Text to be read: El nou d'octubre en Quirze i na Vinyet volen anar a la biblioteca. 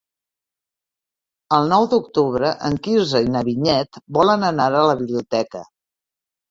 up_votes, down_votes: 3, 0